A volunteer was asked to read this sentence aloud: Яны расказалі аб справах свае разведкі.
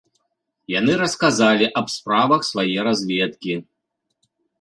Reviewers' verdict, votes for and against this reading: accepted, 2, 0